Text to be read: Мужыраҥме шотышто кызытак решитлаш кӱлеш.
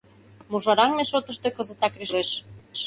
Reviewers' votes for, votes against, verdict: 0, 2, rejected